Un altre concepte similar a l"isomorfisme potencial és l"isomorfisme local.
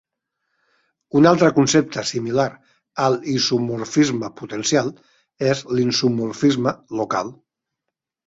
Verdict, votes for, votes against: rejected, 0, 4